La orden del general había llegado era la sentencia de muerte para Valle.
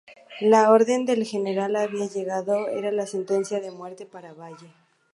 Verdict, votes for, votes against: accepted, 2, 0